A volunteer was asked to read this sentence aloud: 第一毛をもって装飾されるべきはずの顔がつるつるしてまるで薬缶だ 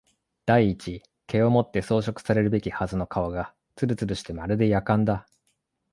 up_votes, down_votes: 3, 0